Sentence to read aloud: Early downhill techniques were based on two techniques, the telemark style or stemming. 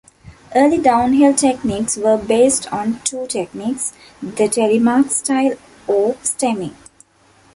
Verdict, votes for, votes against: accepted, 2, 0